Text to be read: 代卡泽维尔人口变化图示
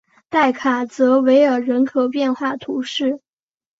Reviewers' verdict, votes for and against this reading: accepted, 2, 0